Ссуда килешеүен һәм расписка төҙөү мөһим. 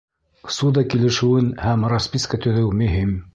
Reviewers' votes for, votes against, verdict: 2, 0, accepted